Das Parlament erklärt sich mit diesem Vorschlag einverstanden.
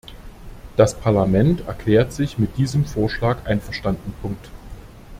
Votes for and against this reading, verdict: 0, 2, rejected